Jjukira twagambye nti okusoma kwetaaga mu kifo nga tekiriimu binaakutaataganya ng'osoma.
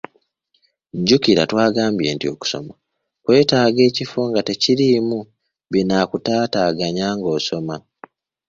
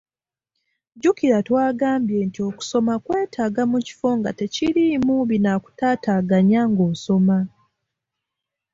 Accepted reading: second